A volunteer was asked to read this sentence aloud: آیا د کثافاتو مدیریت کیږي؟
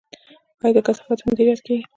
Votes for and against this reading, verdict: 3, 1, accepted